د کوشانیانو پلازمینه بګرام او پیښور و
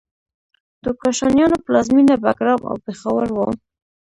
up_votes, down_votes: 1, 2